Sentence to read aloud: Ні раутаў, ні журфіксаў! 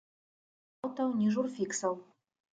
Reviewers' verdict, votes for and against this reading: rejected, 2, 3